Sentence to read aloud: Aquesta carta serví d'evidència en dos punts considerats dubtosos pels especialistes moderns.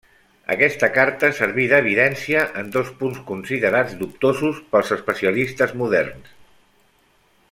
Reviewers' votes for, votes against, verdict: 1, 2, rejected